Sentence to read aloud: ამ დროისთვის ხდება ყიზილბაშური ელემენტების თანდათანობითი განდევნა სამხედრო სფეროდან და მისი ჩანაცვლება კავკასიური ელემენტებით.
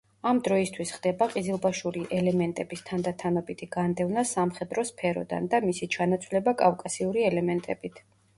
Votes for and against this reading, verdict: 2, 0, accepted